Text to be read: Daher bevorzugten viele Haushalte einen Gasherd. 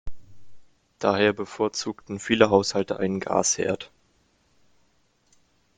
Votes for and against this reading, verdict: 2, 0, accepted